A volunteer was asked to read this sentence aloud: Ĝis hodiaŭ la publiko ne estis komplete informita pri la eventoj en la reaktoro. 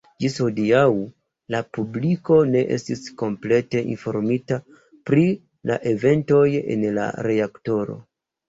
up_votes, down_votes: 1, 2